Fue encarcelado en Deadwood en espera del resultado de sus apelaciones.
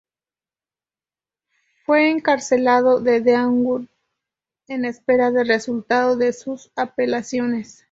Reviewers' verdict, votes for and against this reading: rejected, 2, 2